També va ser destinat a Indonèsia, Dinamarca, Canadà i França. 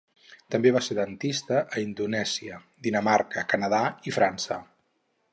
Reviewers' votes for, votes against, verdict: 0, 4, rejected